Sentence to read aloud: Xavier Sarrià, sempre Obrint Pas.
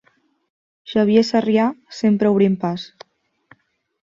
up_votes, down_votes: 2, 0